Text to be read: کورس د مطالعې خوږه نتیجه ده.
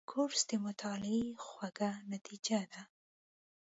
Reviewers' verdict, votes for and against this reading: accepted, 2, 0